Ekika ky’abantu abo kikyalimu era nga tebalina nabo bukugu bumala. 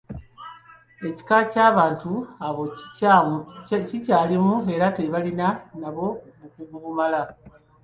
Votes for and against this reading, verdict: 2, 0, accepted